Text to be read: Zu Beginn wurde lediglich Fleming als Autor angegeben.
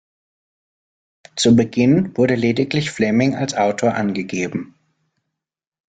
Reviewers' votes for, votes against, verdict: 2, 0, accepted